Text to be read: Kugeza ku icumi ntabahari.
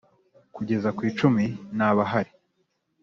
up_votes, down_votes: 2, 0